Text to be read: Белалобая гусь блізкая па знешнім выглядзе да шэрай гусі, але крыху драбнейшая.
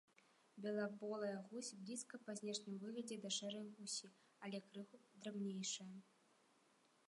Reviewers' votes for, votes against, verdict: 0, 3, rejected